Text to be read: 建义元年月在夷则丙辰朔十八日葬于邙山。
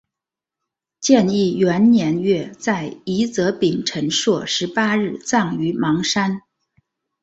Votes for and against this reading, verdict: 2, 0, accepted